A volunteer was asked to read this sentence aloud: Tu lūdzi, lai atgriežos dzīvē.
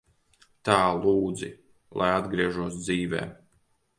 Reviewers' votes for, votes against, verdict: 0, 2, rejected